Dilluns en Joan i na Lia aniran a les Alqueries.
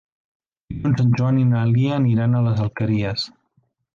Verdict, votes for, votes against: rejected, 0, 2